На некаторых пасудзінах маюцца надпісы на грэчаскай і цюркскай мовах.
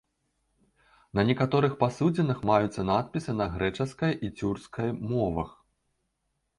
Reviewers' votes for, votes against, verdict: 2, 0, accepted